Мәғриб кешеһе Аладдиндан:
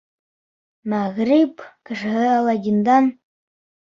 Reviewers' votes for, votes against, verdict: 2, 0, accepted